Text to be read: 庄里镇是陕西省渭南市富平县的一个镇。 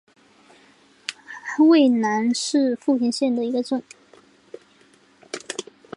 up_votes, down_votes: 1, 2